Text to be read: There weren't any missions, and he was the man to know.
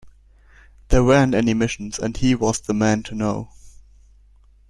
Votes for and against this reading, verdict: 2, 0, accepted